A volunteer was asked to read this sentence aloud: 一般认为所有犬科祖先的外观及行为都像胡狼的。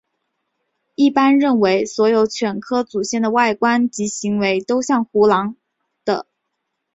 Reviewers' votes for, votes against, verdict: 3, 0, accepted